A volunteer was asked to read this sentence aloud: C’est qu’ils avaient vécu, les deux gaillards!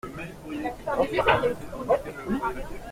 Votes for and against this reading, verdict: 0, 3, rejected